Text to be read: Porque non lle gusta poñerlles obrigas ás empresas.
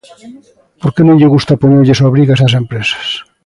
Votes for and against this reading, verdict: 2, 0, accepted